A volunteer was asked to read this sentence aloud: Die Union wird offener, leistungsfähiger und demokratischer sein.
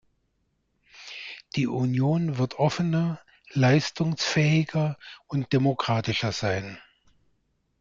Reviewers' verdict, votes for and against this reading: accepted, 2, 0